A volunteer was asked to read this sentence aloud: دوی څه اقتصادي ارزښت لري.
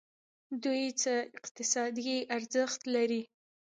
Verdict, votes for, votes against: rejected, 1, 2